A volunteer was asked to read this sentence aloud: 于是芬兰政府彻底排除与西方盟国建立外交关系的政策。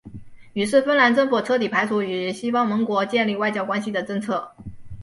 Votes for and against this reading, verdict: 3, 0, accepted